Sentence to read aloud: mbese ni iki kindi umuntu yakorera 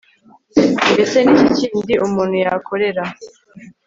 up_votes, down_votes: 2, 0